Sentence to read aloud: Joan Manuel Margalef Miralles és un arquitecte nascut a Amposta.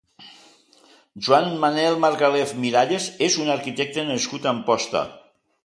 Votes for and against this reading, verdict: 1, 2, rejected